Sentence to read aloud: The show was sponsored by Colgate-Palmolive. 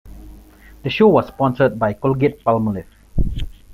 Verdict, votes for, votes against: accepted, 2, 0